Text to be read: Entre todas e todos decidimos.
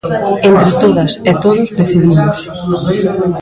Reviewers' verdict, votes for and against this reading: accepted, 2, 1